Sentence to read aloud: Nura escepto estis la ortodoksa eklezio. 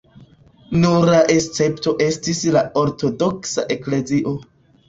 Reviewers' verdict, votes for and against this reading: accepted, 2, 0